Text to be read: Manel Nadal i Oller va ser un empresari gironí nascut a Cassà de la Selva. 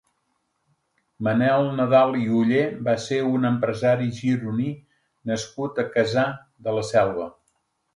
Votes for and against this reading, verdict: 1, 2, rejected